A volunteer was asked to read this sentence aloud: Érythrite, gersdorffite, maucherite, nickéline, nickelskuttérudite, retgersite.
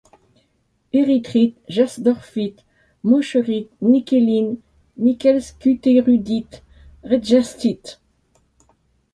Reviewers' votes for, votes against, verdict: 1, 2, rejected